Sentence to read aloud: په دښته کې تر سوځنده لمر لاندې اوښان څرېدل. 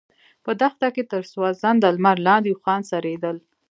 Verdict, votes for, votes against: accepted, 2, 0